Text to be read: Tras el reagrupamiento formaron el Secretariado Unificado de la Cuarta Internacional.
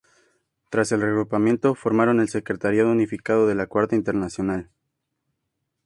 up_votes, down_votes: 2, 0